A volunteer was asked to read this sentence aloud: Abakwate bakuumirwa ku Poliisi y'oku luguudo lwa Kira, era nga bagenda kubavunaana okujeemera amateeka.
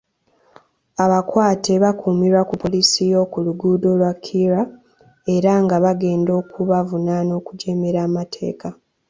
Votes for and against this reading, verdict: 0, 2, rejected